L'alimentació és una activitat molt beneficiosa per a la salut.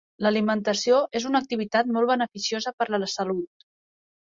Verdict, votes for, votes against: rejected, 1, 2